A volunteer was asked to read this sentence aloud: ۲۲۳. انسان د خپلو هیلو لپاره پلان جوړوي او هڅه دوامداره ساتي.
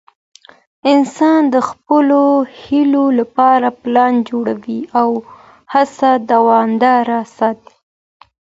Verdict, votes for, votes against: rejected, 0, 2